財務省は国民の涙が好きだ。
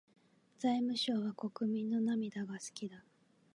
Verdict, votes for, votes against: accepted, 2, 0